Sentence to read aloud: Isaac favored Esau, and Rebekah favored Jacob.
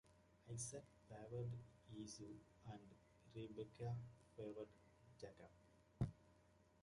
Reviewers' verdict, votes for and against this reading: rejected, 0, 2